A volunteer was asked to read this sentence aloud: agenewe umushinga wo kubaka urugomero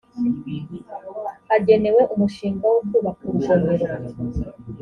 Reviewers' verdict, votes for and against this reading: accepted, 2, 0